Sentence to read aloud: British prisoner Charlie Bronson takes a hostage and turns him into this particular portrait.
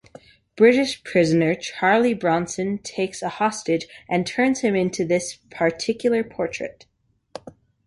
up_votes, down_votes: 2, 1